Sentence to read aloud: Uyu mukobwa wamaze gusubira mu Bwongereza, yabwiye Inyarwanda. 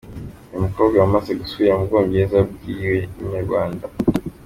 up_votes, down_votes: 2, 0